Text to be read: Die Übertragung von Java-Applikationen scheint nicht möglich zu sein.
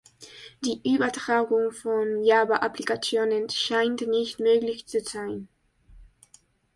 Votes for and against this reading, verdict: 3, 0, accepted